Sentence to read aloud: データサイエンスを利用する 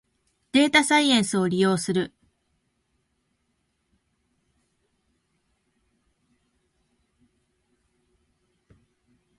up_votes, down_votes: 0, 2